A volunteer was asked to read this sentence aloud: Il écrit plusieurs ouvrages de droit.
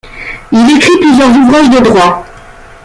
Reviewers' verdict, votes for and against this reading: accepted, 2, 0